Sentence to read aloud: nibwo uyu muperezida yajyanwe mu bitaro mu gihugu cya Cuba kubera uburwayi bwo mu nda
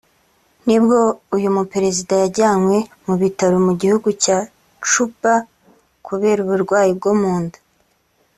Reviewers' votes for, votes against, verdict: 3, 0, accepted